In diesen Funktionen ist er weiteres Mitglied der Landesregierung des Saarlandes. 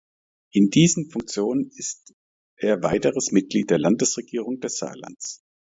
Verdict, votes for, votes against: rejected, 1, 2